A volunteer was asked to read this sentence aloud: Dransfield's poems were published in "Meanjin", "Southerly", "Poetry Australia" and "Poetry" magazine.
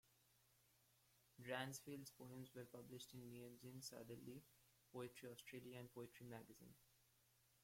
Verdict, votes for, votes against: rejected, 0, 2